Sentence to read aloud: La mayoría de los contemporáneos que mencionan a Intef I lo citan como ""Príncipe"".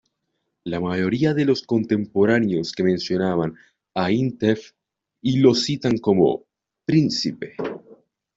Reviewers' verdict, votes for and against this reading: rejected, 0, 2